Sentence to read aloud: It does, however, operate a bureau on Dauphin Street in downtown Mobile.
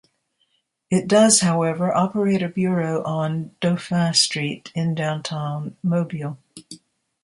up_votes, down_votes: 1, 2